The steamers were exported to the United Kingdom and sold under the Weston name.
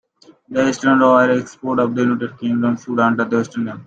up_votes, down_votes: 0, 2